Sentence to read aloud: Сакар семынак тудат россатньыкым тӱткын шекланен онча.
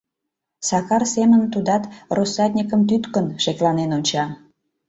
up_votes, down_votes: 0, 2